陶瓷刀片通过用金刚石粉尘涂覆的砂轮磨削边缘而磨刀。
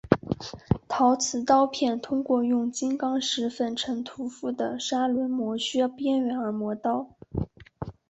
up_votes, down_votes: 2, 0